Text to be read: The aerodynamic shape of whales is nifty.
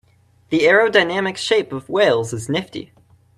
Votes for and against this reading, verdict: 3, 0, accepted